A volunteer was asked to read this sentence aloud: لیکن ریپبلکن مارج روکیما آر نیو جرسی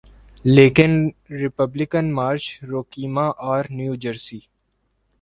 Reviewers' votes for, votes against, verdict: 2, 0, accepted